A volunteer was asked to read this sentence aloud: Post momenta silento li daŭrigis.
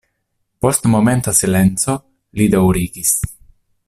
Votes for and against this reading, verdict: 0, 2, rejected